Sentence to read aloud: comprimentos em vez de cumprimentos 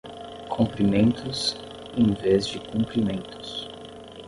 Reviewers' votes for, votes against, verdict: 5, 5, rejected